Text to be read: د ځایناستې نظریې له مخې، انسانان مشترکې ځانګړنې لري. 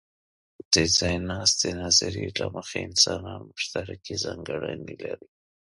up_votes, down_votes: 2, 0